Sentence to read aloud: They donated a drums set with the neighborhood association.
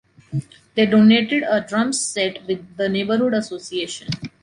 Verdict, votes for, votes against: accepted, 2, 0